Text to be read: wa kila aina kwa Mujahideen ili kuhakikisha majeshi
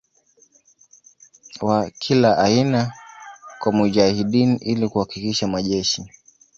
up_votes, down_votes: 1, 2